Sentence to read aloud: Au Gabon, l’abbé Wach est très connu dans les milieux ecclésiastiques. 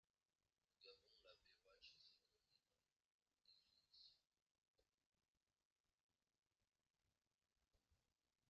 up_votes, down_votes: 0, 2